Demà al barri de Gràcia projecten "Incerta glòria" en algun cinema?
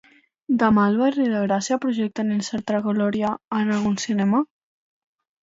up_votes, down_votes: 2, 0